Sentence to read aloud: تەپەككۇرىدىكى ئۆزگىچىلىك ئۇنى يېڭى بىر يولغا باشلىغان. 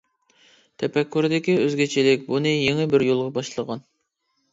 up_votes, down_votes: 2, 0